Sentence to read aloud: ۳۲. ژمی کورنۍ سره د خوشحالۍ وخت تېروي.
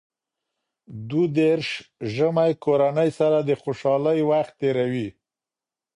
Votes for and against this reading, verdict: 0, 2, rejected